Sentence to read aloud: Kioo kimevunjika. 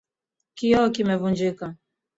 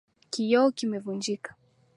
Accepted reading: first